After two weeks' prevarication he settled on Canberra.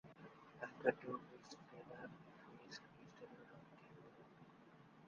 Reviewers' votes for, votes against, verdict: 0, 2, rejected